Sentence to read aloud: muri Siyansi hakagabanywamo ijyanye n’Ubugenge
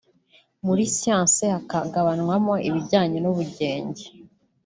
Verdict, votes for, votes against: rejected, 0, 2